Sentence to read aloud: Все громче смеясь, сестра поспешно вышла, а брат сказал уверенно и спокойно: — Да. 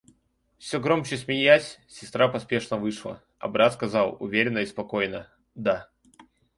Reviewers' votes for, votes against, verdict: 2, 0, accepted